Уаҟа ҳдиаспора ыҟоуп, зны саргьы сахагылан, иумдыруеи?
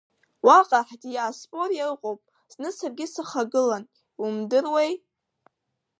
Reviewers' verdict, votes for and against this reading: rejected, 1, 2